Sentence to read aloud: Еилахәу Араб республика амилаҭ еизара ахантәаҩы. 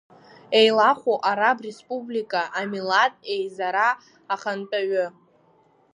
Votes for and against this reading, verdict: 2, 1, accepted